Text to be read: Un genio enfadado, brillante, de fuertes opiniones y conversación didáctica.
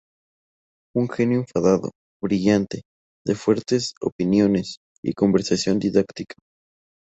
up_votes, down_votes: 4, 0